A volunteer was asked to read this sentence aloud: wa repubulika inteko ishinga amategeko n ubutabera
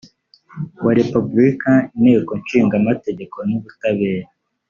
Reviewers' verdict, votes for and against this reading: rejected, 1, 2